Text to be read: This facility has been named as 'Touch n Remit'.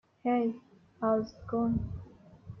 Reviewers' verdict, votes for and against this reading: rejected, 0, 2